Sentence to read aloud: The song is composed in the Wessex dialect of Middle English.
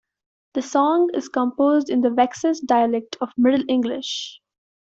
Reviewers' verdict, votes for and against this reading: accepted, 2, 1